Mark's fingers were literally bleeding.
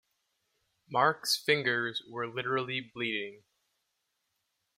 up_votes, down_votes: 2, 0